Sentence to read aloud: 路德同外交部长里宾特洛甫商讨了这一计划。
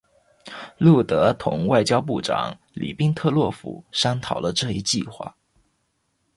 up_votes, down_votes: 2, 0